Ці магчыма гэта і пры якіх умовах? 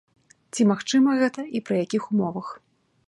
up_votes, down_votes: 2, 0